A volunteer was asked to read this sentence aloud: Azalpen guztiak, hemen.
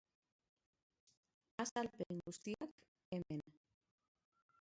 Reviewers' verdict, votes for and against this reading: rejected, 0, 3